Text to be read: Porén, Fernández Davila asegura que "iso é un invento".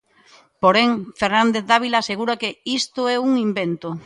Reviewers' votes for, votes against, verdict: 0, 2, rejected